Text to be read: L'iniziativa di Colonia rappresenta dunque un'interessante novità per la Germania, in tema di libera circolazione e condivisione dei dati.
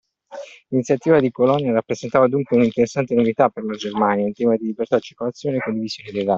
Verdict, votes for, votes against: rejected, 0, 2